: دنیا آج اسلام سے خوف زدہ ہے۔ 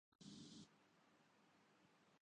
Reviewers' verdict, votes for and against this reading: rejected, 0, 2